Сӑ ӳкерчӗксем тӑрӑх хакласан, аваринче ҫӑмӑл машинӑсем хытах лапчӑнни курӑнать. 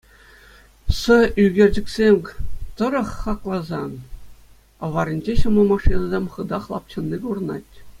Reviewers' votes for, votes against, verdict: 2, 0, accepted